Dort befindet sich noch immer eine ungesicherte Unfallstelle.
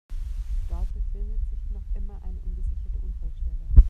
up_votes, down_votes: 0, 2